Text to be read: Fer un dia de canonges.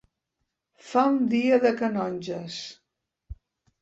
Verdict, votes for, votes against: rejected, 1, 2